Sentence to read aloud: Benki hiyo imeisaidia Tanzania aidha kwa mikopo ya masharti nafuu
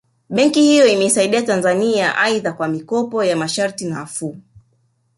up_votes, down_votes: 3, 0